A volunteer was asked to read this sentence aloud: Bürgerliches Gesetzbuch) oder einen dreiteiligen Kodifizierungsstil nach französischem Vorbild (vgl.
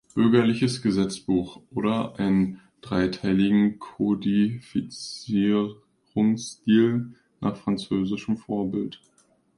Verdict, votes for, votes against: rejected, 0, 2